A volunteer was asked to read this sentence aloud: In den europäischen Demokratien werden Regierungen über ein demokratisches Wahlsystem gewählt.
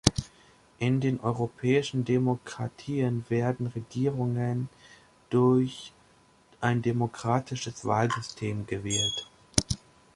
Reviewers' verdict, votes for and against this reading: rejected, 0, 2